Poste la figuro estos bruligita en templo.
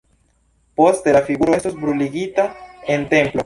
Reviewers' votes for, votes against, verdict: 2, 1, accepted